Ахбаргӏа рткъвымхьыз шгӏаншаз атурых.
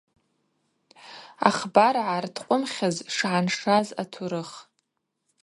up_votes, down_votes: 0, 2